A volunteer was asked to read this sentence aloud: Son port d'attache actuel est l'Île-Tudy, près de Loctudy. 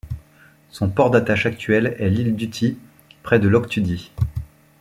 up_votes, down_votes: 0, 2